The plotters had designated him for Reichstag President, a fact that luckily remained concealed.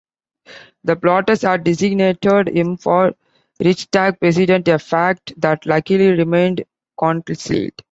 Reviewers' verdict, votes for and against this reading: rejected, 1, 2